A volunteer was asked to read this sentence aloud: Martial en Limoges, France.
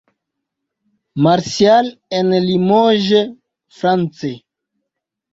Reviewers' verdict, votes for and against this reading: rejected, 1, 2